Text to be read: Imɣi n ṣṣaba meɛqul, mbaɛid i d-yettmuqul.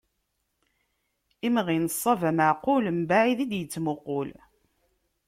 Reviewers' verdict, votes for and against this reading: accepted, 2, 1